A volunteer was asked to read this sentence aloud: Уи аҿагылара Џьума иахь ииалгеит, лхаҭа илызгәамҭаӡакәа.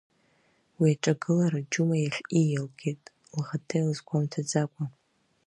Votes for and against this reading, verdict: 2, 0, accepted